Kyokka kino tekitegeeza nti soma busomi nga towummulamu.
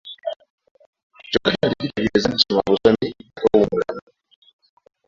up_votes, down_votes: 0, 3